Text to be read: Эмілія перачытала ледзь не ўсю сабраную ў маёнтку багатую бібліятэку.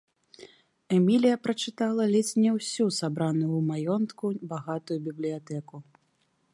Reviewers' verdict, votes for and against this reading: accepted, 3, 0